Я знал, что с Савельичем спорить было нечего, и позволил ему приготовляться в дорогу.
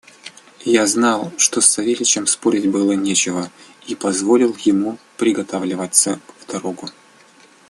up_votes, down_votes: 1, 2